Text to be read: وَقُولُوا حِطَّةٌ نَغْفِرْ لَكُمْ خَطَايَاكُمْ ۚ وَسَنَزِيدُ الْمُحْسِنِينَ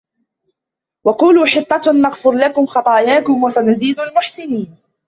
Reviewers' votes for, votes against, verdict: 0, 2, rejected